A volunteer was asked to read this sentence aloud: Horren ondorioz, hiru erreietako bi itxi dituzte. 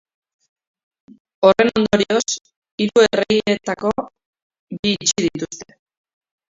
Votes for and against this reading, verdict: 0, 3, rejected